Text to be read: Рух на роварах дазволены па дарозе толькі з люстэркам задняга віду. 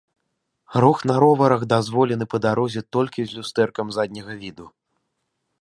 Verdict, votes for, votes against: accepted, 2, 0